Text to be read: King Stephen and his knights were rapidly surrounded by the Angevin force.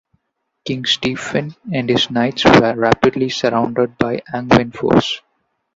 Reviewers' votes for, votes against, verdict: 0, 2, rejected